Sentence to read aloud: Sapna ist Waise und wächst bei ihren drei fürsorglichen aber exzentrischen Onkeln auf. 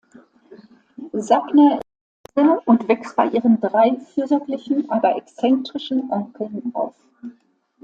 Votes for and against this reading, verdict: 0, 2, rejected